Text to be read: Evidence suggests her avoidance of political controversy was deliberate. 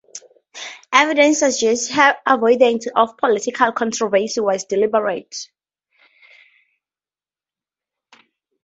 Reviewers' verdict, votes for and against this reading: accepted, 4, 0